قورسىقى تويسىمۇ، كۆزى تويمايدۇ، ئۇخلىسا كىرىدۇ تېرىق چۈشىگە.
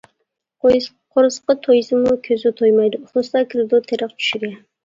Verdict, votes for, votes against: rejected, 1, 2